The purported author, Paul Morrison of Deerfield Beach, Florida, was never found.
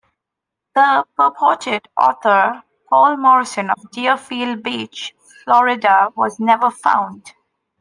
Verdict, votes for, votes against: accepted, 2, 0